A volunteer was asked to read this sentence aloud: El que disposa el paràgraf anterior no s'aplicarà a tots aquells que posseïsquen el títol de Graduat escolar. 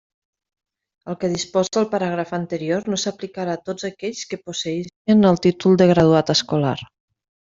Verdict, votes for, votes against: rejected, 0, 2